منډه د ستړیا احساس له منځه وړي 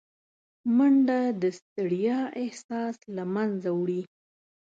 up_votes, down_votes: 2, 0